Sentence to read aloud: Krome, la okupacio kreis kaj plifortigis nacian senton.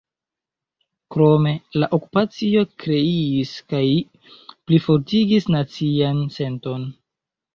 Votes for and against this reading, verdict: 0, 2, rejected